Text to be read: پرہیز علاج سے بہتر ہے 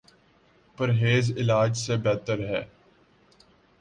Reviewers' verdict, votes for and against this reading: accepted, 2, 0